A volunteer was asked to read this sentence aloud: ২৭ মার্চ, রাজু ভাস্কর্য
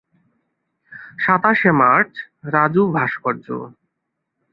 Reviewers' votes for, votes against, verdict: 0, 2, rejected